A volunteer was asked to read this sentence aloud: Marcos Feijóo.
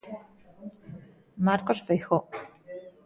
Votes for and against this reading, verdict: 2, 1, accepted